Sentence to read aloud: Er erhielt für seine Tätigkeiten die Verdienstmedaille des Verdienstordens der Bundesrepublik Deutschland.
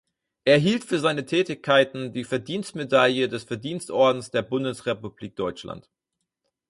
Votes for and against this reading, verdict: 0, 4, rejected